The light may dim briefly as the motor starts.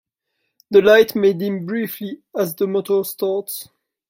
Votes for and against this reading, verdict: 1, 2, rejected